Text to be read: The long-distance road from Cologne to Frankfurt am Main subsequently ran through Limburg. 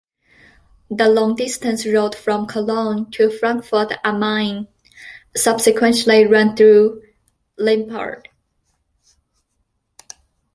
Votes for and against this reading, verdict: 1, 2, rejected